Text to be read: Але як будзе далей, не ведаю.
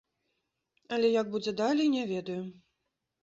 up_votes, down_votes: 2, 0